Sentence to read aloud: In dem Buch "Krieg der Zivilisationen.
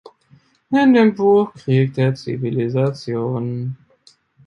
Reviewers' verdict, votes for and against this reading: rejected, 0, 2